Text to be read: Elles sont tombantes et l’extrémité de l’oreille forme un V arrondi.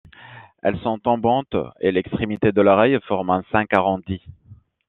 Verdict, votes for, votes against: rejected, 1, 2